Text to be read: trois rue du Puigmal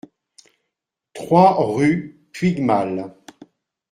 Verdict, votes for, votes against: rejected, 0, 2